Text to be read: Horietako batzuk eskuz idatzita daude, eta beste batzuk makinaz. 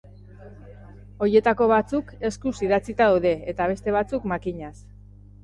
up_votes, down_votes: 2, 2